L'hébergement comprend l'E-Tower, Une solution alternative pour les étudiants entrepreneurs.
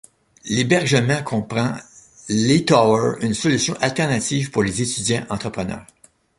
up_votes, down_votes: 2, 1